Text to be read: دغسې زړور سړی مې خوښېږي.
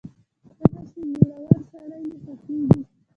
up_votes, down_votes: 0, 2